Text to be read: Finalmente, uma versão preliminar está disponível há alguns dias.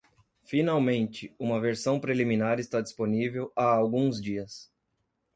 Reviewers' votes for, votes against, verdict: 2, 0, accepted